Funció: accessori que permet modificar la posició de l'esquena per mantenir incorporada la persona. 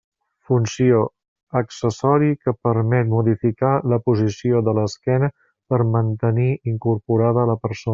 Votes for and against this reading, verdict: 0, 2, rejected